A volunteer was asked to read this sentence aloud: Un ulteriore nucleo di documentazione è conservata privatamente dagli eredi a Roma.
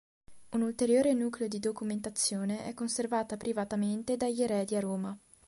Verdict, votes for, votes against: accepted, 2, 0